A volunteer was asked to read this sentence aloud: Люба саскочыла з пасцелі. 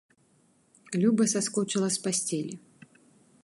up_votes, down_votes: 2, 0